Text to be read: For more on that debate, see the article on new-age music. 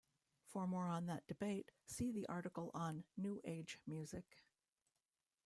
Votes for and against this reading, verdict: 2, 0, accepted